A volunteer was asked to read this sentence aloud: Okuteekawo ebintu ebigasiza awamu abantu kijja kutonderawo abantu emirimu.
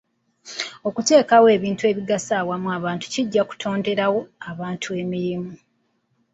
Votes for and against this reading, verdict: 2, 0, accepted